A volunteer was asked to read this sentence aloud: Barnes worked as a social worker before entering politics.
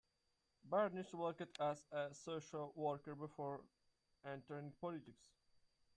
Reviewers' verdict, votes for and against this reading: rejected, 1, 2